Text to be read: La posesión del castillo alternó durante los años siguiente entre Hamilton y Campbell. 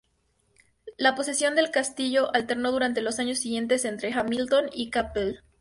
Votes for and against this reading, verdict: 2, 0, accepted